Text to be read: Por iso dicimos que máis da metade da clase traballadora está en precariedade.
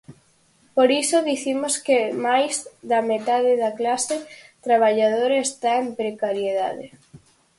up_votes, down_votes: 4, 0